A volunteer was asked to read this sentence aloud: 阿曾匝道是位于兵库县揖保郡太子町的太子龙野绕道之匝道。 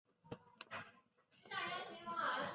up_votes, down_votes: 1, 5